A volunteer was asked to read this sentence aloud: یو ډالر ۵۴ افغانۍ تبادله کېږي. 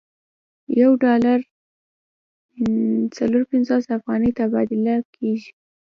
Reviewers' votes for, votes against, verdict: 0, 2, rejected